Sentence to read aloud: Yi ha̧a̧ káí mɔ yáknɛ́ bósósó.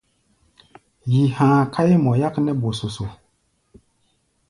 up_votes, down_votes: 1, 2